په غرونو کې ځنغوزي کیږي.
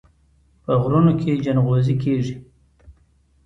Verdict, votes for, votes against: accepted, 2, 0